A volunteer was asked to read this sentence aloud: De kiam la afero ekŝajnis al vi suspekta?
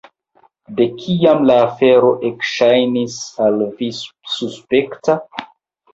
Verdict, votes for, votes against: rejected, 1, 2